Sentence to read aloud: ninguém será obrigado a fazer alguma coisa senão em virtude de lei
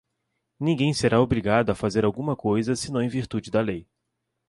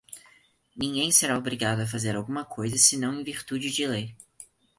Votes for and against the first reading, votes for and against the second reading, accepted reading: 1, 2, 4, 0, second